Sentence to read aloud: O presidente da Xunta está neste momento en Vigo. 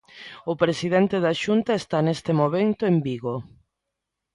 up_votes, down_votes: 2, 1